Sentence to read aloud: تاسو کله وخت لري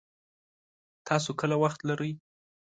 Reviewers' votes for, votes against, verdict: 0, 2, rejected